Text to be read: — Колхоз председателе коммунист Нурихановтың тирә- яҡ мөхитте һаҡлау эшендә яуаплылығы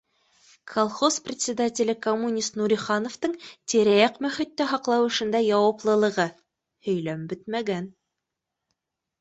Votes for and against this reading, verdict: 1, 2, rejected